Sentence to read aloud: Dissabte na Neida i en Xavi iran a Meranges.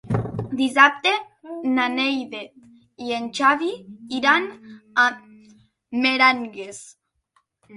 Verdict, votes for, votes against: rejected, 0, 2